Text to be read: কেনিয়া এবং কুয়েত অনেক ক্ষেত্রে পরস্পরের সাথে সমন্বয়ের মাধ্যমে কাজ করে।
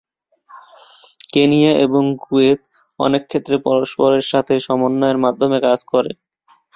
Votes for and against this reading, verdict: 2, 1, accepted